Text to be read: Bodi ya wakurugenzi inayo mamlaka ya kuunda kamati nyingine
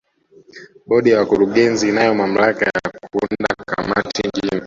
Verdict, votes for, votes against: rejected, 1, 2